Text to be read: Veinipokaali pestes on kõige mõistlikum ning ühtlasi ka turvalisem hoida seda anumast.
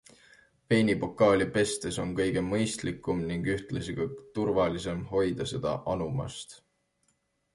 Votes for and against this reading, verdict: 2, 0, accepted